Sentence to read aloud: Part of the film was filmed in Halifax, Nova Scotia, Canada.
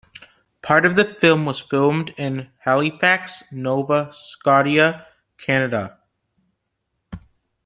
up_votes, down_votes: 1, 2